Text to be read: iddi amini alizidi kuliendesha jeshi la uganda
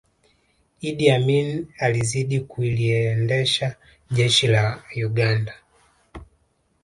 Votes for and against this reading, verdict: 4, 0, accepted